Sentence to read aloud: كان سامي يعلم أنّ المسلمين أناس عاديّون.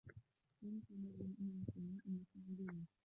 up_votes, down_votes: 0, 2